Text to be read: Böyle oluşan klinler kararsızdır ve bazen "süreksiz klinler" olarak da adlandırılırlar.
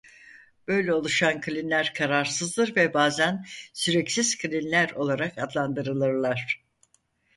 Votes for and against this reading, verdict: 0, 4, rejected